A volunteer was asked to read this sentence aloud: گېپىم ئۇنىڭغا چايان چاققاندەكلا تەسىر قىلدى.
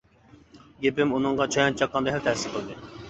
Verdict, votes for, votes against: rejected, 0, 2